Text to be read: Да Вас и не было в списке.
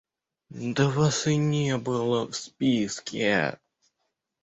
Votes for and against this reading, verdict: 1, 2, rejected